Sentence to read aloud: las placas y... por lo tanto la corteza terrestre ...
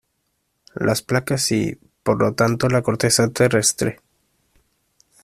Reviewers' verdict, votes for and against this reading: accepted, 2, 0